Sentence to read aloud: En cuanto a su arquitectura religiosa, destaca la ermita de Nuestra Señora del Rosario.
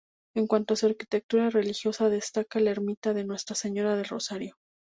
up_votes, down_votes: 2, 0